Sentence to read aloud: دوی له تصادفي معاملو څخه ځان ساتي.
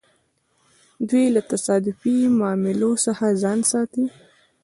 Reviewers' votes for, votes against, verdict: 1, 2, rejected